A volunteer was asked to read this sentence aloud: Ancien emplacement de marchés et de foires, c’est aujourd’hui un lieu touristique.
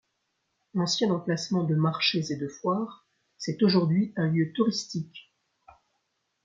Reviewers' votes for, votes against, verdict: 2, 0, accepted